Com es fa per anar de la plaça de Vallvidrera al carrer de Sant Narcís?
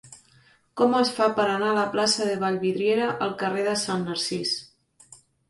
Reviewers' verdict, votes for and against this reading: rejected, 2, 3